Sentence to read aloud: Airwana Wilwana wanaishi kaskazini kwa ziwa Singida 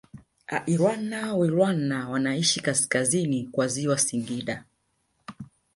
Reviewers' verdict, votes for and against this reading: rejected, 0, 2